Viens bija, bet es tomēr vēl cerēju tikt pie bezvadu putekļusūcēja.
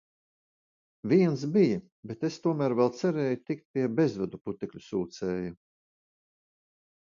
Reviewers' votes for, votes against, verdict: 2, 0, accepted